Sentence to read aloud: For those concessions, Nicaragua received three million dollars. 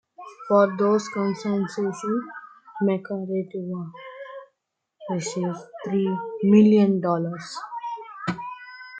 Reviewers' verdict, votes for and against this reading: accepted, 2, 1